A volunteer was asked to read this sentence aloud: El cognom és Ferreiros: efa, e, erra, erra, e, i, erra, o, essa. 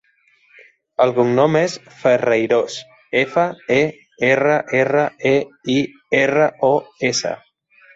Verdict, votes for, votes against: accepted, 3, 0